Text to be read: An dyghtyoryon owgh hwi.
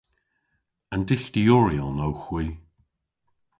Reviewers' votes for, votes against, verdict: 2, 0, accepted